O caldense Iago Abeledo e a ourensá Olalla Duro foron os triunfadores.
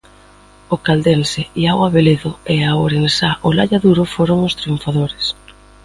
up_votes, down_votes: 2, 0